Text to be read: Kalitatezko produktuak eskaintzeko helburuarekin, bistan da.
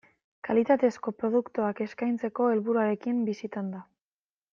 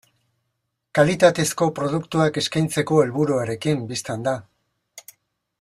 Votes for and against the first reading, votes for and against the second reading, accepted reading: 1, 2, 2, 0, second